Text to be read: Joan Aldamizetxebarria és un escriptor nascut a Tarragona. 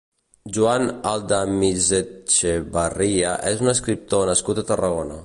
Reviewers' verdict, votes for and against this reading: rejected, 1, 2